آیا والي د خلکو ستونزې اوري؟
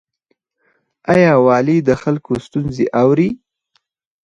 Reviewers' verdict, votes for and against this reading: accepted, 4, 2